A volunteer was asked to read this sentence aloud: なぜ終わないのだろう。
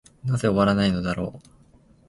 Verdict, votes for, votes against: accepted, 2, 0